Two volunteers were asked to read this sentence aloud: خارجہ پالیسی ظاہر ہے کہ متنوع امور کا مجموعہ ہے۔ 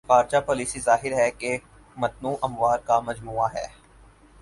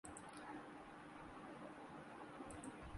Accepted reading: first